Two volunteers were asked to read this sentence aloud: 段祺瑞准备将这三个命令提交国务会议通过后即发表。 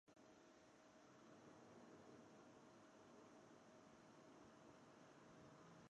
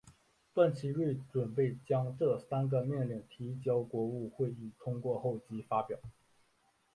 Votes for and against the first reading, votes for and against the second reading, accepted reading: 0, 2, 2, 0, second